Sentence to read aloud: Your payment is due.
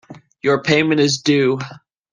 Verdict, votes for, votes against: accepted, 2, 0